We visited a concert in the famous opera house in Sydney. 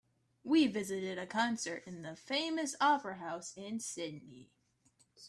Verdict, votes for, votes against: accepted, 2, 0